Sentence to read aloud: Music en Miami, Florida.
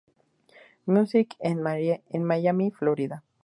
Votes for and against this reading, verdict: 0, 2, rejected